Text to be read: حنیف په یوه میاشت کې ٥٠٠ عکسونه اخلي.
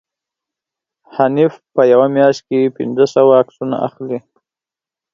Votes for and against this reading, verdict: 0, 2, rejected